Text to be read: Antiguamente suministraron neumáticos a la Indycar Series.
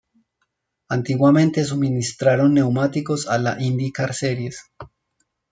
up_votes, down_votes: 2, 0